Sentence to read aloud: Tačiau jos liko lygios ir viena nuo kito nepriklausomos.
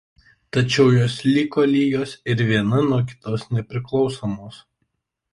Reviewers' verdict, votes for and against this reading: rejected, 0, 2